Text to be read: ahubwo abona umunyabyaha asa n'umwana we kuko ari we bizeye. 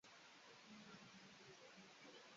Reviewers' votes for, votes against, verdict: 0, 2, rejected